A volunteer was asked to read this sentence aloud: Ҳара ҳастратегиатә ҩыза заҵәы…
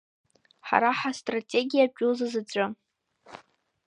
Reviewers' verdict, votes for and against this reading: rejected, 1, 2